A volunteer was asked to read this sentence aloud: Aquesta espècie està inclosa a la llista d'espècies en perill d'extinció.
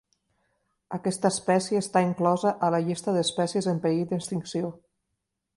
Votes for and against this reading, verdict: 2, 0, accepted